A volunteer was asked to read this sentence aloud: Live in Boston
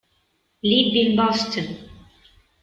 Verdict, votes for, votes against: accepted, 2, 1